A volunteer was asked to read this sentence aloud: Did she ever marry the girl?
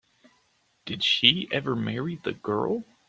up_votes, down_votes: 2, 0